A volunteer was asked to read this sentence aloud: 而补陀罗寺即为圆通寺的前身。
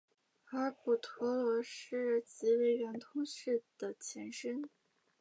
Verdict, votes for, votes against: accepted, 2, 0